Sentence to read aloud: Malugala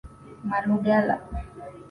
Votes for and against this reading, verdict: 2, 0, accepted